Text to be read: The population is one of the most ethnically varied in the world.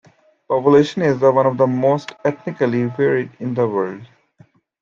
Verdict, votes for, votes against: rejected, 1, 2